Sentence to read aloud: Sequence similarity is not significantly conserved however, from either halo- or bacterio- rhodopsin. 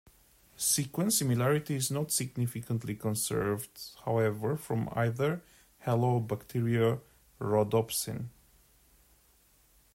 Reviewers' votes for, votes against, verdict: 1, 2, rejected